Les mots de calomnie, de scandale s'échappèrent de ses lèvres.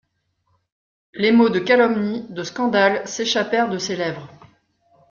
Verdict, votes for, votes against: accepted, 2, 0